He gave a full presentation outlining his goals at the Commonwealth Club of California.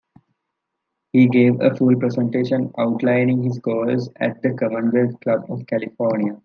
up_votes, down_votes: 2, 0